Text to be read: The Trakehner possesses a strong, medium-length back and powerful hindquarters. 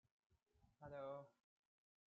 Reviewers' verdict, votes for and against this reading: rejected, 0, 2